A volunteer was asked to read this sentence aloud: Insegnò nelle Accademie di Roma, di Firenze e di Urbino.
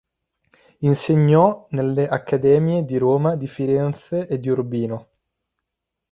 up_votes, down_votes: 2, 0